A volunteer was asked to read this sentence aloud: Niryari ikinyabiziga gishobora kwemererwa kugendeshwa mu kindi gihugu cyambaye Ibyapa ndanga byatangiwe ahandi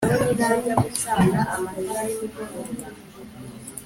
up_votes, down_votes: 0, 3